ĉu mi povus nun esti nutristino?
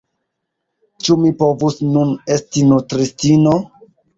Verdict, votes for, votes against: accepted, 2, 1